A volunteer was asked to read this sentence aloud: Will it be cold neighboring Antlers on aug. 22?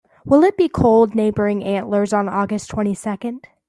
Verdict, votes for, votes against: rejected, 0, 2